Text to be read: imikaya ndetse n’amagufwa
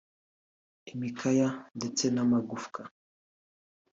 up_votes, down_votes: 3, 0